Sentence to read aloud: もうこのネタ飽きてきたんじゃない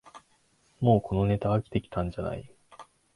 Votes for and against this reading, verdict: 2, 0, accepted